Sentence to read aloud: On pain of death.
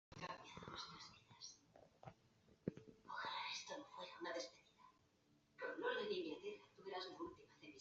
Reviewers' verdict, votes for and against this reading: rejected, 0, 2